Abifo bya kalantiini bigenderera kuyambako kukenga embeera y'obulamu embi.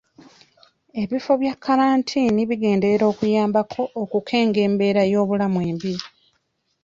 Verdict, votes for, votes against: rejected, 2, 3